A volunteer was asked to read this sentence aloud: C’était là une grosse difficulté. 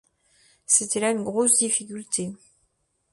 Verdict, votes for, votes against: accepted, 2, 0